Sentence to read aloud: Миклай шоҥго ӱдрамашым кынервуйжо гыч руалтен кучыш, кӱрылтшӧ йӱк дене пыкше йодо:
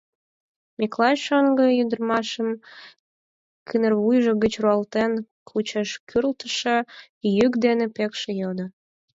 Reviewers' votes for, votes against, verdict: 2, 4, rejected